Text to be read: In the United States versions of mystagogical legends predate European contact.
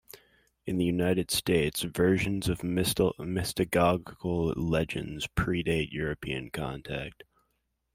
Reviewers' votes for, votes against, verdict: 0, 2, rejected